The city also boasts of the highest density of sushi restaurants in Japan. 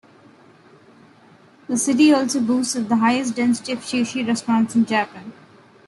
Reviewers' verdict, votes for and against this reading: accepted, 2, 0